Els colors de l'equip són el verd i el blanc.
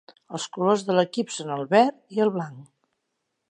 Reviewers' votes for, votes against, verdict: 2, 0, accepted